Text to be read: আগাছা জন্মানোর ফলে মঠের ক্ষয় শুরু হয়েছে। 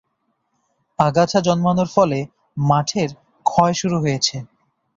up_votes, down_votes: 0, 2